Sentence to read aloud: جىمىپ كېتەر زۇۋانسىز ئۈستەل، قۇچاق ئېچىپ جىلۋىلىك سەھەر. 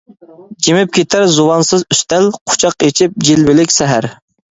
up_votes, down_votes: 2, 0